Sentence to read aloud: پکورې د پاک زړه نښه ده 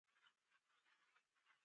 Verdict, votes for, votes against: rejected, 1, 2